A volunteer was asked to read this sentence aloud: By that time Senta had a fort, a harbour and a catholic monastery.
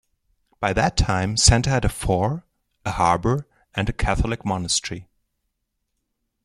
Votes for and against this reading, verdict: 2, 0, accepted